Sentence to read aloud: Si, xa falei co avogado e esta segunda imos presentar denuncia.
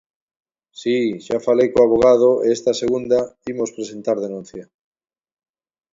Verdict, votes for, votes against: accepted, 2, 0